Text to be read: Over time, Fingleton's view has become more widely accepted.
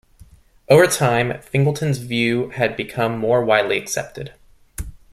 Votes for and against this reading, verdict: 0, 2, rejected